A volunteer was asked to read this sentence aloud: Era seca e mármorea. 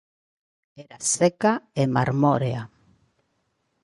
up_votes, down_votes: 2, 1